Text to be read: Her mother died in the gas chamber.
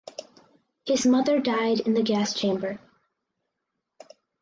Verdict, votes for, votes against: rejected, 0, 4